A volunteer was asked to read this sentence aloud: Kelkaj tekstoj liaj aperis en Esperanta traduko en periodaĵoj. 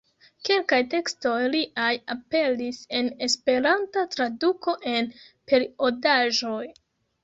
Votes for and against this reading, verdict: 2, 0, accepted